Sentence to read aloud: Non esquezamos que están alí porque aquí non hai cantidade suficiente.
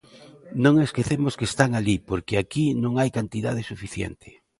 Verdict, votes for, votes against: rejected, 1, 2